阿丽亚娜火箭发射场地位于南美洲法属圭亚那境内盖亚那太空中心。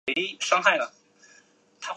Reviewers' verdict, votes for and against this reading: rejected, 0, 2